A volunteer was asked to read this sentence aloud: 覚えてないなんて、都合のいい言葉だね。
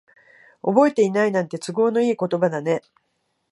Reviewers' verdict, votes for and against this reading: accepted, 46, 8